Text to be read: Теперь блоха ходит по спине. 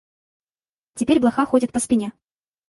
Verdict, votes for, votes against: rejected, 2, 2